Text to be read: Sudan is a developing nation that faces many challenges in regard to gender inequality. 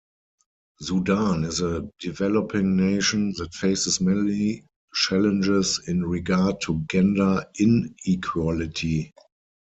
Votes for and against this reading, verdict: 2, 4, rejected